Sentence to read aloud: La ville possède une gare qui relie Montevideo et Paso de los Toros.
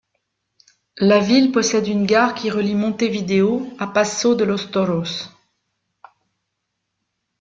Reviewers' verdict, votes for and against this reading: rejected, 0, 2